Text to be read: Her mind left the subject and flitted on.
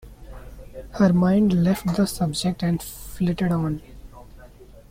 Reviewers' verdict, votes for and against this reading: accepted, 3, 0